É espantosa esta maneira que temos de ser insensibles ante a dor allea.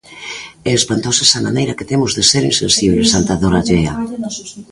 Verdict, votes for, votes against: rejected, 0, 2